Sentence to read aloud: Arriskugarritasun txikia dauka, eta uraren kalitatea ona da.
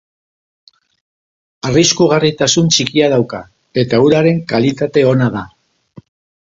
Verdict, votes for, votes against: rejected, 0, 4